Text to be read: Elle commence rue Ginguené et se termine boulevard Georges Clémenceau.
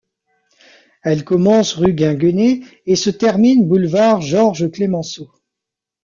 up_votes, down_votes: 2, 0